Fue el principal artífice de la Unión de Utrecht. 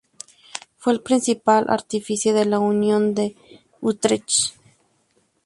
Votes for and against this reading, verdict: 2, 0, accepted